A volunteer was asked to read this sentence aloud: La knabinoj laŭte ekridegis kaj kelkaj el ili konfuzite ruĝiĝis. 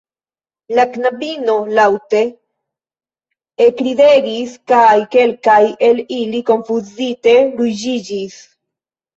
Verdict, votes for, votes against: accepted, 2, 1